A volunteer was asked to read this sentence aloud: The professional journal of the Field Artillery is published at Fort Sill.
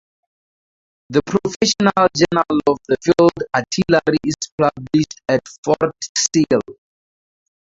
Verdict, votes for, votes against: accepted, 2, 0